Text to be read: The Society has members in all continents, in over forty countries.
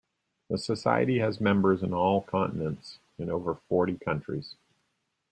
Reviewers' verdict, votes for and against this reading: accepted, 2, 0